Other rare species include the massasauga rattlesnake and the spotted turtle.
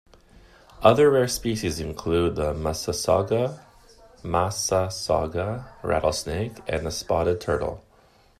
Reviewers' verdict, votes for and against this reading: rejected, 0, 2